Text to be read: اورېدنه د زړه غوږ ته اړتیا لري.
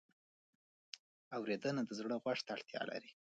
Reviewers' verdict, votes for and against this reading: accepted, 2, 1